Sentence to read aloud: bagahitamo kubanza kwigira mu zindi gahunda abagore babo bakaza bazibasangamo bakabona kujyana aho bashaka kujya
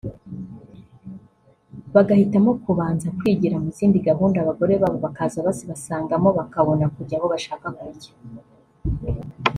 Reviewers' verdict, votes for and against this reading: accepted, 2, 1